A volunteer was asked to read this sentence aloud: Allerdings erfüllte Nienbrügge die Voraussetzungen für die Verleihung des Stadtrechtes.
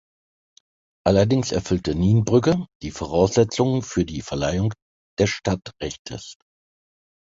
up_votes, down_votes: 2, 0